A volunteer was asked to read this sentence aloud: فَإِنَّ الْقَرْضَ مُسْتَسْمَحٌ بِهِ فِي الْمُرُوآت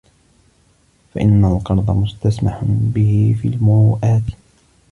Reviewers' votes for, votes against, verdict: 2, 1, accepted